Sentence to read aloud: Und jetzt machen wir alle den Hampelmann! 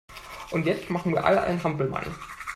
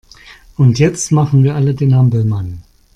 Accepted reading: second